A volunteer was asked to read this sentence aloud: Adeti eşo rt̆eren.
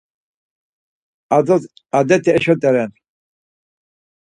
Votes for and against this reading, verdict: 0, 4, rejected